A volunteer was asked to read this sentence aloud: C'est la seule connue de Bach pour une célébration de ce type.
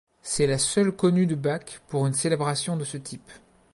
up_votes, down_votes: 0, 2